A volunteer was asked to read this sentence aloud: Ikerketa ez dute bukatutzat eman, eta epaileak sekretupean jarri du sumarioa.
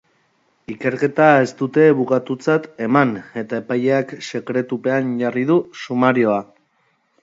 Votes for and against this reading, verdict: 1, 2, rejected